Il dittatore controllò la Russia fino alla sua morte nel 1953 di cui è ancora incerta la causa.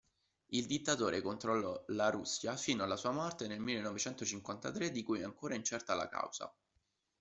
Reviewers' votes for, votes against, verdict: 0, 2, rejected